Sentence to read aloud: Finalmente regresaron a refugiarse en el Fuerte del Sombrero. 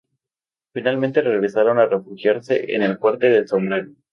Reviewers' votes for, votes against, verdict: 2, 2, rejected